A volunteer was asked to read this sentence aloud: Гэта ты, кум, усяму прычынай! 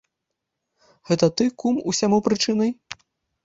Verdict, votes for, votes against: rejected, 1, 2